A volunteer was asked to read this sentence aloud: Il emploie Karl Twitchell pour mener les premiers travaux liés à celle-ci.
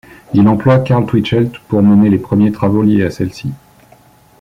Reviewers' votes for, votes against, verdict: 2, 0, accepted